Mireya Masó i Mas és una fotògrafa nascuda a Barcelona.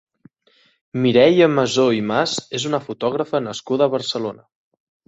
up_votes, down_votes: 2, 0